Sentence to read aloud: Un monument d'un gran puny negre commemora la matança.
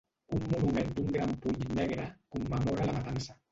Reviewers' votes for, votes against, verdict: 0, 2, rejected